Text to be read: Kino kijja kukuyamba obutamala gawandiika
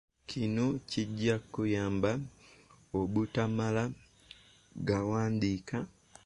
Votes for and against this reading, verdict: 2, 1, accepted